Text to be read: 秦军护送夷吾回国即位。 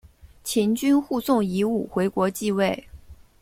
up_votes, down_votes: 2, 0